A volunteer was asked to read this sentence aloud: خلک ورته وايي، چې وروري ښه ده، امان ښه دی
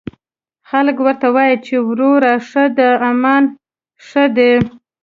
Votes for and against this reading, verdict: 1, 2, rejected